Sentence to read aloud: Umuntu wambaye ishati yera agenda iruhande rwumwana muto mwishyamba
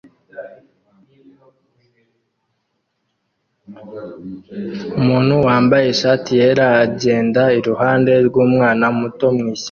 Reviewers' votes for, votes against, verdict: 1, 2, rejected